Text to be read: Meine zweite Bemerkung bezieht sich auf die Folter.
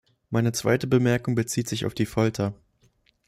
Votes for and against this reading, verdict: 2, 0, accepted